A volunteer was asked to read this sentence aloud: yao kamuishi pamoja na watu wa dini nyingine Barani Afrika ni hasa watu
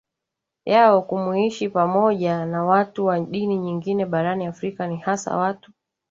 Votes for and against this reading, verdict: 1, 2, rejected